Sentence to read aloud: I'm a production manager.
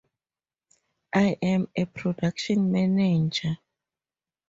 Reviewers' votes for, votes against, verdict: 2, 4, rejected